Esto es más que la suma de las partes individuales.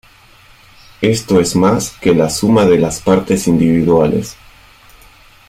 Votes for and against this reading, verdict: 2, 0, accepted